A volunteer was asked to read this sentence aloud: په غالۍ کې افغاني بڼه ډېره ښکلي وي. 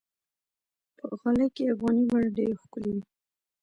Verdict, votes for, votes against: accepted, 2, 0